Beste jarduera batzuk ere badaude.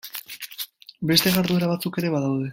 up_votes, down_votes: 2, 0